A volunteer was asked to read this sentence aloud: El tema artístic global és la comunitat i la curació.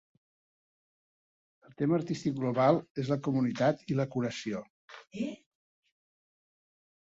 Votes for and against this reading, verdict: 3, 0, accepted